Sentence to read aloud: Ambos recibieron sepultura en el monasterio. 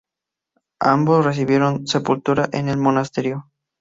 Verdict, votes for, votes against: accepted, 2, 0